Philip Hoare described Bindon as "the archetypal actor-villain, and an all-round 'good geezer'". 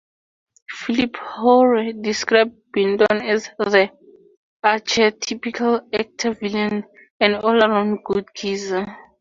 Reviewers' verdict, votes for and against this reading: rejected, 0, 2